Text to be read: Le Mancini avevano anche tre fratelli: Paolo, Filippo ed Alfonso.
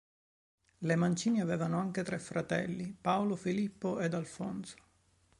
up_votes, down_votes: 2, 0